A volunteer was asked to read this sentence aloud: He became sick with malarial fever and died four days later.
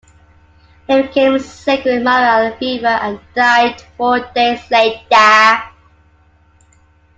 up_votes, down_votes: 0, 2